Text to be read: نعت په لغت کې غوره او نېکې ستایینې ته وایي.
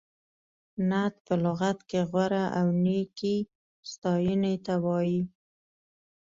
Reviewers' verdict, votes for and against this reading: accepted, 2, 0